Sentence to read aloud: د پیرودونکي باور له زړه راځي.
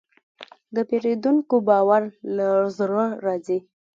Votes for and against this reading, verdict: 0, 2, rejected